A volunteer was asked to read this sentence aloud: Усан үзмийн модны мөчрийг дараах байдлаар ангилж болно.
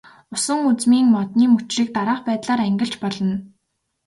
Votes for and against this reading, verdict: 2, 0, accepted